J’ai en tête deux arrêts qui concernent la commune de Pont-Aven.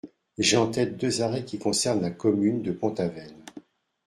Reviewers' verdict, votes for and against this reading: accepted, 2, 0